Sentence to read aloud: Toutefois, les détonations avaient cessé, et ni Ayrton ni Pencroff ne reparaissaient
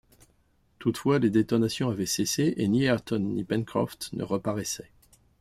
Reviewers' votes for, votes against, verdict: 2, 0, accepted